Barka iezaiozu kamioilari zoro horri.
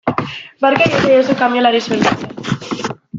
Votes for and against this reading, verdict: 0, 2, rejected